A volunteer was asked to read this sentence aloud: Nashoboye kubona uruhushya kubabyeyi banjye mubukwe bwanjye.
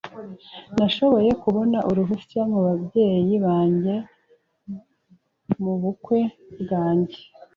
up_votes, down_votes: 2, 0